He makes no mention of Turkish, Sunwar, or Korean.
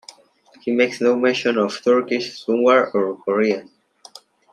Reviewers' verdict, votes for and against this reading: accepted, 2, 1